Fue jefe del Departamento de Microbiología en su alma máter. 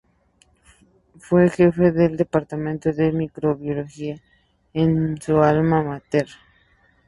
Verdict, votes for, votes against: accepted, 2, 0